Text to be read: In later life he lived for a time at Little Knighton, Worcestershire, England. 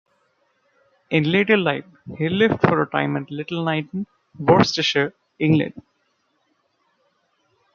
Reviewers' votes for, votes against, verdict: 2, 1, accepted